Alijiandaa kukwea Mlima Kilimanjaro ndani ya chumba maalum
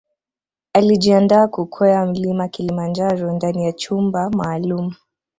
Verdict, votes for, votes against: accepted, 2, 0